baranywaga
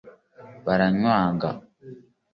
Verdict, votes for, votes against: accepted, 2, 0